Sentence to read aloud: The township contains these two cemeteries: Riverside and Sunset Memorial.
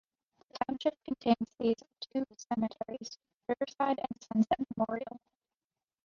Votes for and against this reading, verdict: 1, 3, rejected